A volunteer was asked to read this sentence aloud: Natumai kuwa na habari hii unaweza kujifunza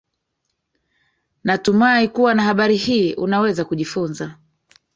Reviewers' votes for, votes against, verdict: 0, 2, rejected